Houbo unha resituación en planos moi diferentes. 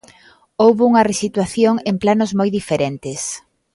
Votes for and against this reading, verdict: 2, 0, accepted